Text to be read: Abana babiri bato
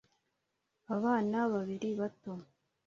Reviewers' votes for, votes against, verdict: 2, 0, accepted